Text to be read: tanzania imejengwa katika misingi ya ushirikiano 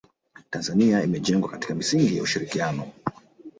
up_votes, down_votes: 1, 2